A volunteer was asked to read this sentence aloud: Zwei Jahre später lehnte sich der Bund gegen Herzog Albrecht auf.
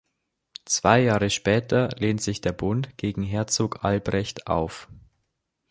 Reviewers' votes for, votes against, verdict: 0, 2, rejected